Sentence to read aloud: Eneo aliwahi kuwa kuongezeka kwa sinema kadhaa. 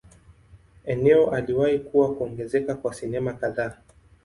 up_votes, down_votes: 2, 0